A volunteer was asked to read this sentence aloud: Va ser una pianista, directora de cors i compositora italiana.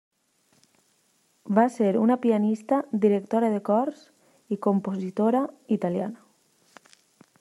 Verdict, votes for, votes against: accepted, 3, 0